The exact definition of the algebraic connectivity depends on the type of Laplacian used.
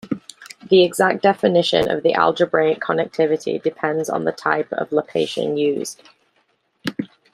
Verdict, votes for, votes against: rejected, 1, 2